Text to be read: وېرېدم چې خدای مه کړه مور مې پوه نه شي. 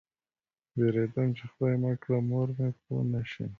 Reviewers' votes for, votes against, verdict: 2, 0, accepted